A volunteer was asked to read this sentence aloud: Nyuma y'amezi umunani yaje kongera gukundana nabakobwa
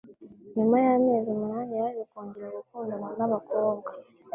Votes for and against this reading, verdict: 2, 0, accepted